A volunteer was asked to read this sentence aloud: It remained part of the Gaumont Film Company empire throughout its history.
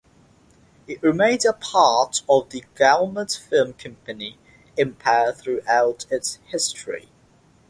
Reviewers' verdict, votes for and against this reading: rejected, 0, 3